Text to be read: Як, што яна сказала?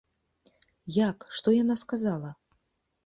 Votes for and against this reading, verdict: 2, 0, accepted